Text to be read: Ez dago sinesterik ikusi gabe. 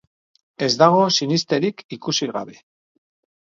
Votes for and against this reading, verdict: 4, 0, accepted